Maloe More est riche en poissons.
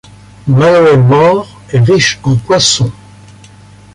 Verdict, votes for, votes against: accepted, 2, 1